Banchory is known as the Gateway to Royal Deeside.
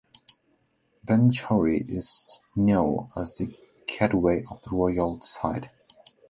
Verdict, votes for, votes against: rejected, 0, 2